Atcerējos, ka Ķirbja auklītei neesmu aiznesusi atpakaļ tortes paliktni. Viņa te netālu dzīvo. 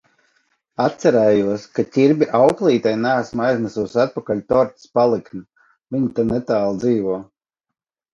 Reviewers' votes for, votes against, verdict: 2, 0, accepted